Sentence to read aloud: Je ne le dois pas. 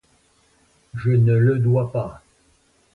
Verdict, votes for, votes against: accepted, 2, 0